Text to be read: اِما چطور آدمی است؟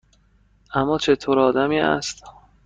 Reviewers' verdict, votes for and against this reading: rejected, 1, 2